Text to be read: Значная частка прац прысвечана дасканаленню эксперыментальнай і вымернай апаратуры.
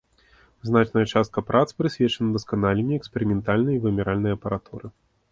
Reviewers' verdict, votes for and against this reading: rejected, 1, 3